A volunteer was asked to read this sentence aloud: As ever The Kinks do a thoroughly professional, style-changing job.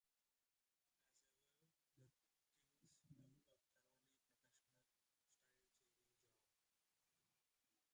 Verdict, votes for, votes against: rejected, 0, 2